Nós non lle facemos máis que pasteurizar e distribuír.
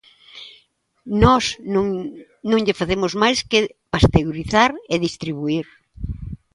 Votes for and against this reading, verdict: 1, 2, rejected